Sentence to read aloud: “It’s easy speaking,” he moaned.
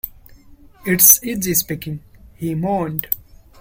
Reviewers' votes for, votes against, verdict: 2, 0, accepted